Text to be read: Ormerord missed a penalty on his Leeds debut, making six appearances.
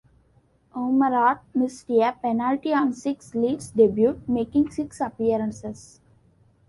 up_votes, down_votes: 0, 2